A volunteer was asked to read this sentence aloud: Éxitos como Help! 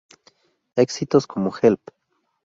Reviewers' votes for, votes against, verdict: 2, 0, accepted